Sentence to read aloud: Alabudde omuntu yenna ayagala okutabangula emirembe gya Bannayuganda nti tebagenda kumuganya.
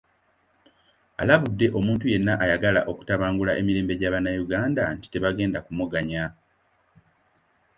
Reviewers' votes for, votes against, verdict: 2, 0, accepted